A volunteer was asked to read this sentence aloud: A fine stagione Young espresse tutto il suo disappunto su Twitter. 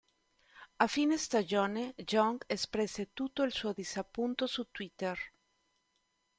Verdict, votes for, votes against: rejected, 1, 2